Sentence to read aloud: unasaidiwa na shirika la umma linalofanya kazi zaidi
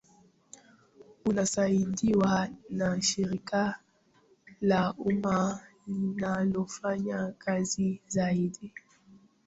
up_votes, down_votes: 0, 2